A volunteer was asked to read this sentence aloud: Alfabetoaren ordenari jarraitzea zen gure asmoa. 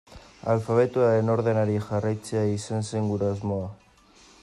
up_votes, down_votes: 0, 2